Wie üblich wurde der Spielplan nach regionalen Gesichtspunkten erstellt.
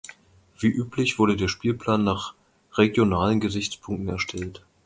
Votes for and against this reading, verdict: 2, 0, accepted